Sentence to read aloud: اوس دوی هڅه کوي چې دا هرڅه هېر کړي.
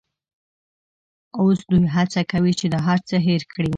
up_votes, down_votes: 2, 0